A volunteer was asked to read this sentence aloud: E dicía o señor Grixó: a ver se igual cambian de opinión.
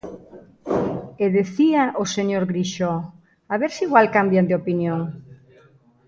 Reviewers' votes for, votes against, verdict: 1, 2, rejected